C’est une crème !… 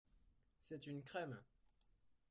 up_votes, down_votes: 2, 0